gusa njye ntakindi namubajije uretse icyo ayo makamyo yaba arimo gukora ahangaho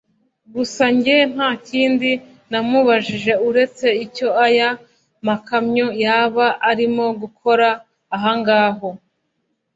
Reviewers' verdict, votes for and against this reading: rejected, 1, 2